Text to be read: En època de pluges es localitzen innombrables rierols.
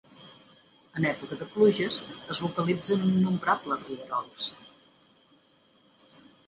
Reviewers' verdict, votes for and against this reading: accepted, 3, 1